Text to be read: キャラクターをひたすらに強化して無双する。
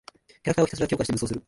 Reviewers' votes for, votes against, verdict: 0, 2, rejected